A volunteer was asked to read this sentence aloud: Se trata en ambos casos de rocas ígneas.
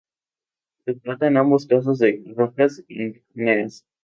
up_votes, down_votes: 2, 2